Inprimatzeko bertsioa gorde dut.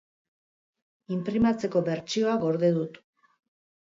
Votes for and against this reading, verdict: 2, 0, accepted